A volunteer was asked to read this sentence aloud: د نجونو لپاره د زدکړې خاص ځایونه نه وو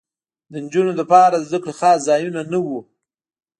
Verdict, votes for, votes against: accepted, 2, 0